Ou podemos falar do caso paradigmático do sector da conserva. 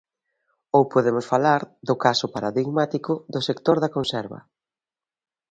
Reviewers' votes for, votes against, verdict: 2, 0, accepted